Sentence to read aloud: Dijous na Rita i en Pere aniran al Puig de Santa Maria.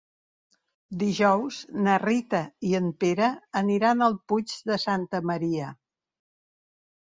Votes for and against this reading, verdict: 3, 0, accepted